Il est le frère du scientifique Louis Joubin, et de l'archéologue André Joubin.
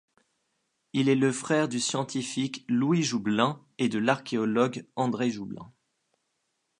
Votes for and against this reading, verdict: 1, 2, rejected